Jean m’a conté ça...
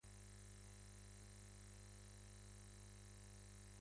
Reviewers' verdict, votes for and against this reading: rejected, 1, 2